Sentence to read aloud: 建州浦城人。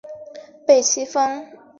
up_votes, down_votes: 0, 2